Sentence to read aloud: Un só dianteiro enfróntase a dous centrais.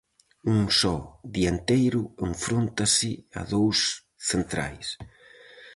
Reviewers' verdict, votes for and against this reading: accepted, 4, 0